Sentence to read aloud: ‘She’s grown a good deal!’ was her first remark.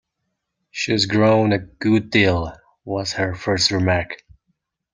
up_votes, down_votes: 2, 1